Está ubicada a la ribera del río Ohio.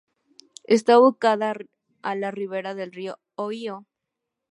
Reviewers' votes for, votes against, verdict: 0, 2, rejected